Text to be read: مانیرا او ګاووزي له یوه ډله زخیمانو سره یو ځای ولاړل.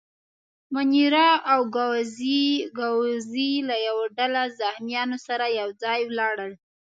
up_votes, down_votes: 4, 0